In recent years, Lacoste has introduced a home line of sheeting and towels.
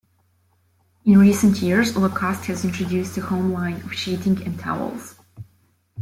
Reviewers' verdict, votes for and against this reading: accepted, 2, 0